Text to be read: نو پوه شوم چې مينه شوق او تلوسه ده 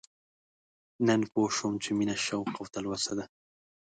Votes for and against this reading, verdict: 2, 0, accepted